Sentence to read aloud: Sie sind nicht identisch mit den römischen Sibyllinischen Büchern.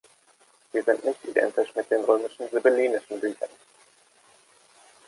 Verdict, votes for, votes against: rejected, 1, 2